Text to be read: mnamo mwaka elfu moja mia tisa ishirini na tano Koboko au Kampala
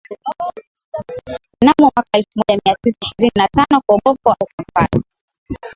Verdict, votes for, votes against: rejected, 0, 2